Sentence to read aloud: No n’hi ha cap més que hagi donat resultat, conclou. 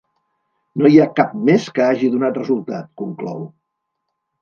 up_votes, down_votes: 1, 2